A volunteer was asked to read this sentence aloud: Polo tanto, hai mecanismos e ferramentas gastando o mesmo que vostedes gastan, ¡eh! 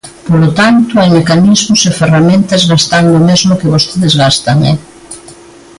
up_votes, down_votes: 2, 0